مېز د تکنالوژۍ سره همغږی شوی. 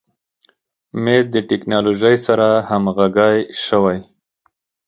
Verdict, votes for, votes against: accepted, 2, 0